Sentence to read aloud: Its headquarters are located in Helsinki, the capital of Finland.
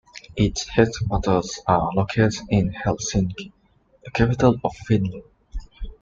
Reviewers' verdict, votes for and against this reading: accepted, 2, 1